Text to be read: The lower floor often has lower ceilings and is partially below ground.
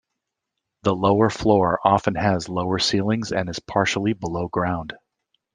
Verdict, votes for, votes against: rejected, 1, 2